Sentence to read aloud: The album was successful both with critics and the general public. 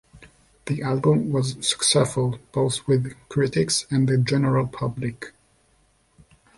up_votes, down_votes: 0, 2